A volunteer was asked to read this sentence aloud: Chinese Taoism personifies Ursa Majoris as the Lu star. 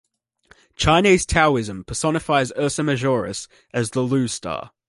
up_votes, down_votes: 2, 0